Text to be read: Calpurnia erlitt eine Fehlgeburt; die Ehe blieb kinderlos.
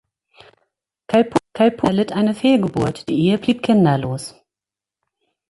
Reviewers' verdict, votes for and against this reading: rejected, 1, 2